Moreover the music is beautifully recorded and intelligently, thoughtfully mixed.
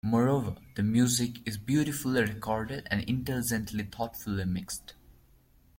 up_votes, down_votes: 1, 2